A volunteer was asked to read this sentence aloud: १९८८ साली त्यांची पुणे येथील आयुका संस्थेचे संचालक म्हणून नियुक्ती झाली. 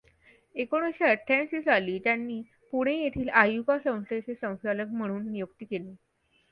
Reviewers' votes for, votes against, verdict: 0, 2, rejected